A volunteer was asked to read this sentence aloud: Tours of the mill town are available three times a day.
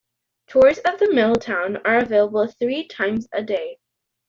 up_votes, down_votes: 2, 0